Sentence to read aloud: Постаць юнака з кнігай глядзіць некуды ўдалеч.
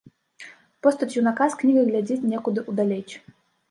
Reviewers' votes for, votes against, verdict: 1, 2, rejected